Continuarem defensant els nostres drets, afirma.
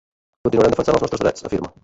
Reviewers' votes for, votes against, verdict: 0, 2, rejected